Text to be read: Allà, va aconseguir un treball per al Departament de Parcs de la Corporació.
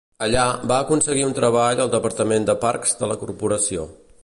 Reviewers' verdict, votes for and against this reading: rejected, 0, 2